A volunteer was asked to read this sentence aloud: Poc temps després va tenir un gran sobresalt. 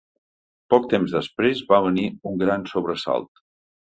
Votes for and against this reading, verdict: 1, 2, rejected